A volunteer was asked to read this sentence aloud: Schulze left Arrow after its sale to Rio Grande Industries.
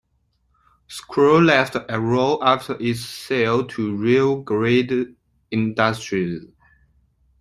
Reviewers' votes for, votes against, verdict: 2, 1, accepted